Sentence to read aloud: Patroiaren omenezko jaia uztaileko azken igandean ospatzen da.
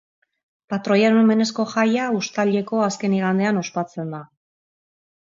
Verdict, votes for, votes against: accepted, 3, 0